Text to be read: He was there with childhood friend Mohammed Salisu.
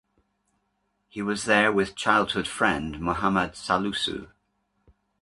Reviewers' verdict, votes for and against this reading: rejected, 1, 2